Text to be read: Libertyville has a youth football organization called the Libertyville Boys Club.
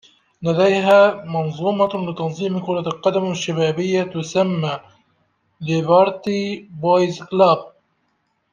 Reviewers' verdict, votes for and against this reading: rejected, 0, 2